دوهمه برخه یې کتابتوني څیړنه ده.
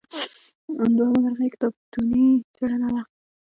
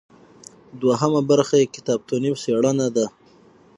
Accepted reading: first